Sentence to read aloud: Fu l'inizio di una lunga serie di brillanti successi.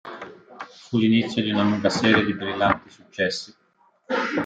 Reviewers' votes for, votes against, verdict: 0, 2, rejected